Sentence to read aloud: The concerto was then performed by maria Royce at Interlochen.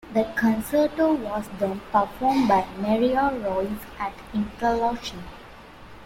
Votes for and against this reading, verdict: 0, 2, rejected